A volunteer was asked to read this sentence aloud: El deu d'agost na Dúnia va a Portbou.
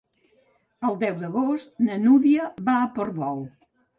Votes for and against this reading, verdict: 1, 2, rejected